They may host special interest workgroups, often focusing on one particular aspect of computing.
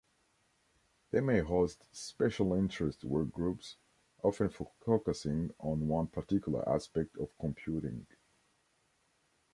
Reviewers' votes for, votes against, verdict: 1, 2, rejected